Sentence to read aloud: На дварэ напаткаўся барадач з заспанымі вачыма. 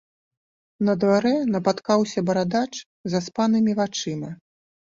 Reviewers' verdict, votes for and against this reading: accepted, 2, 0